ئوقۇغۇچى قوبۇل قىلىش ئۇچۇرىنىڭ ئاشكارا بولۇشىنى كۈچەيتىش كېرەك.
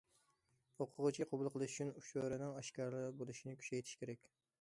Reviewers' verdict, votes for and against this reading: rejected, 0, 2